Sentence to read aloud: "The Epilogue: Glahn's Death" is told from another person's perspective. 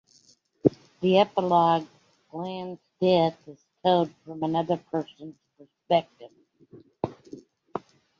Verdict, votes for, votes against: accepted, 2, 0